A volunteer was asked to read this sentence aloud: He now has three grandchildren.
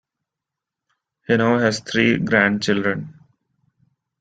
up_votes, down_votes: 2, 1